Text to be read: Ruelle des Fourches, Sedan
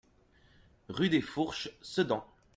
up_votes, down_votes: 1, 2